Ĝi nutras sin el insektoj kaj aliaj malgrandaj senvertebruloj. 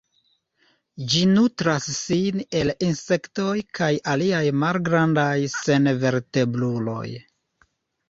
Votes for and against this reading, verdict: 2, 0, accepted